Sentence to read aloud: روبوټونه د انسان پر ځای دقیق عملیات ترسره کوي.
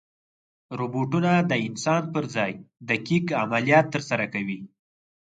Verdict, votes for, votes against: accepted, 4, 0